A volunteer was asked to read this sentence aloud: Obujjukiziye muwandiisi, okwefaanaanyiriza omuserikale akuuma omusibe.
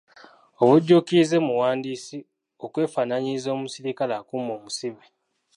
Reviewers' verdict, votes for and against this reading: rejected, 1, 2